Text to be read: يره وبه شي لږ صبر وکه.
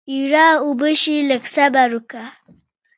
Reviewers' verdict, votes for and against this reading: rejected, 1, 2